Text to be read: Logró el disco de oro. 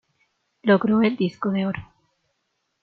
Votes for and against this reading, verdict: 2, 0, accepted